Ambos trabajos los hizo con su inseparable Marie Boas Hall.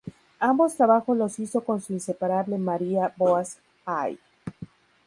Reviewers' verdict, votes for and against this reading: rejected, 0, 2